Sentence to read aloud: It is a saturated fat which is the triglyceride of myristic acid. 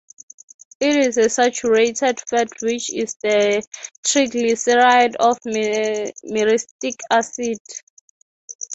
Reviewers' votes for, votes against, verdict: 0, 6, rejected